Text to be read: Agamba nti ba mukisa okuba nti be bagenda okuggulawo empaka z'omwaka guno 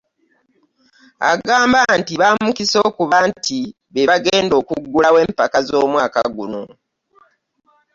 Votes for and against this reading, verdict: 0, 2, rejected